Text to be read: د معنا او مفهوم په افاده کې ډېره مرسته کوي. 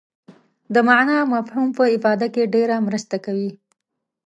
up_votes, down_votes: 2, 0